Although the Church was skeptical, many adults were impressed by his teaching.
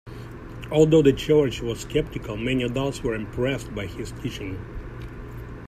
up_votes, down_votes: 2, 0